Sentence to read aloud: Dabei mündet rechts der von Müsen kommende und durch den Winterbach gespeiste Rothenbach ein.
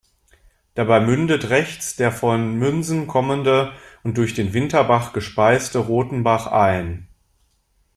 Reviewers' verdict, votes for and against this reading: rejected, 1, 2